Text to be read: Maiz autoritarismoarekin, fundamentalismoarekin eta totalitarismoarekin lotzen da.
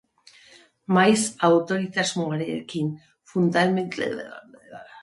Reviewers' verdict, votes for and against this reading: rejected, 0, 2